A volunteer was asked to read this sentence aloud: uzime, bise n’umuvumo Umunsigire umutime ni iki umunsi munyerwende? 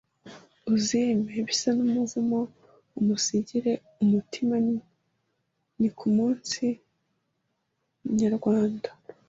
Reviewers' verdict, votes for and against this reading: rejected, 0, 2